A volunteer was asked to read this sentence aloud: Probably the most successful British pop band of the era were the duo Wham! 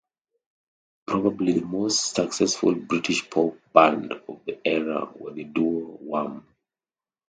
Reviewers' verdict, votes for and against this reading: accepted, 2, 0